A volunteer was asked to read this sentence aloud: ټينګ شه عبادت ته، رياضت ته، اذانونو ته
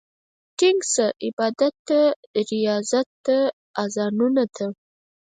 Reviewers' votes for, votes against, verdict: 2, 4, rejected